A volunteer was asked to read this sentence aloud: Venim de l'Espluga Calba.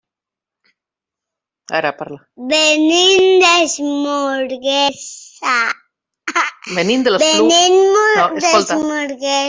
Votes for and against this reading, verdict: 0, 2, rejected